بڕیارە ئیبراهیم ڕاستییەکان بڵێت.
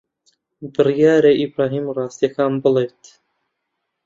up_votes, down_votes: 2, 0